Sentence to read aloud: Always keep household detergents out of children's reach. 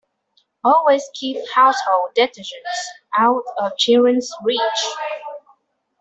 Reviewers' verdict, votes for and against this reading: rejected, 0, 2